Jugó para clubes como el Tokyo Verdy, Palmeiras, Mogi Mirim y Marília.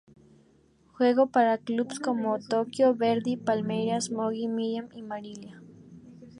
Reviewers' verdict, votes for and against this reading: rejected, 0, 2